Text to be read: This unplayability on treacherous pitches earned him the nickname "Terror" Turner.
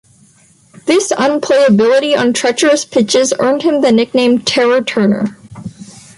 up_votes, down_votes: 4, 0